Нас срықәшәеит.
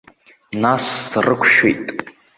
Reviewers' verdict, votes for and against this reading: accepted, 2, 0